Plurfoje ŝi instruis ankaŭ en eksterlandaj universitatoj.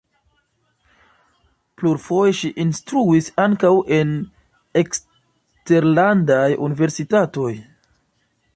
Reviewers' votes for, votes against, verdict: 2, 0, accepted